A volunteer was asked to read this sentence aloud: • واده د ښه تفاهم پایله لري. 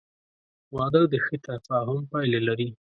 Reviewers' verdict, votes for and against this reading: accepted, 2, 0